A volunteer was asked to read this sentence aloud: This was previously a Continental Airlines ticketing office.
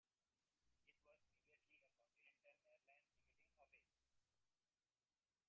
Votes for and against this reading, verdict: 0, 2, rejected